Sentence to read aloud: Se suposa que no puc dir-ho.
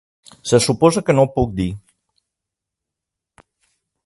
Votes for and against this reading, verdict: 0, 2, rejected